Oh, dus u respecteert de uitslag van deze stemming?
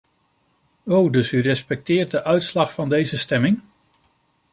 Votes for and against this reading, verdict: 2, 0, accepted